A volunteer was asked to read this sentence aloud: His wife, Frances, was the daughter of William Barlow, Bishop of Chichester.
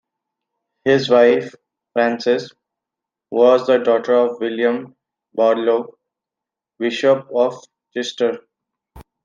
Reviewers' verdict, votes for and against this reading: rejected, 1, 2